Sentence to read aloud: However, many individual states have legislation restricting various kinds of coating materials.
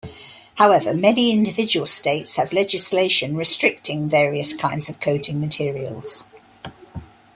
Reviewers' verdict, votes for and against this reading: accepted, 2, 0